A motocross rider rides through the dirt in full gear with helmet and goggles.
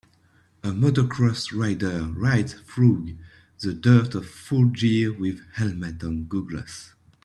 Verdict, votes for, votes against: rejected, 0, 2